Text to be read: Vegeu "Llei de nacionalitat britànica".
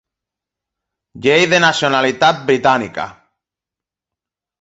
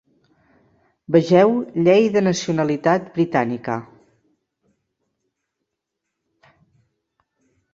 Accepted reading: second